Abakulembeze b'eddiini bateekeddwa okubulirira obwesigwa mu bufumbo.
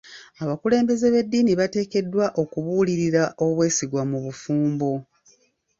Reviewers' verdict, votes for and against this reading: accepted, 3, 1